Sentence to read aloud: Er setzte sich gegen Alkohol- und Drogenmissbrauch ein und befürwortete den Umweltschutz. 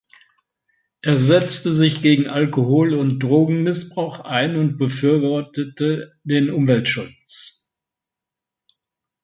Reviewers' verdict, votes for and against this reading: accepted, 2, 0